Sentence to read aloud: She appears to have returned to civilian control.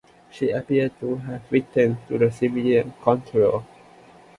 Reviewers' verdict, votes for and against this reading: rejected, 0, 2